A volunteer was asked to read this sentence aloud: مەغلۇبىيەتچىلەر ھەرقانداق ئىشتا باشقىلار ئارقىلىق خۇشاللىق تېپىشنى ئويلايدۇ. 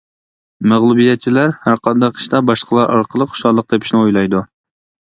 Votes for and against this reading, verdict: 2, 0, accepted